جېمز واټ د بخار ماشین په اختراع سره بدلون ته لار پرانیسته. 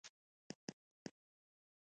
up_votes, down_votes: 2, 1